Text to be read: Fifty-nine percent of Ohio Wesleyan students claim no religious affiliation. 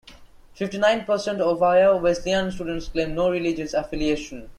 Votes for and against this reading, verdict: 2, 0, accepted